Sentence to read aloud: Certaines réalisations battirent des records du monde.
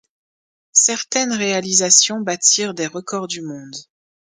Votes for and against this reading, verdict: 1, 2, rejected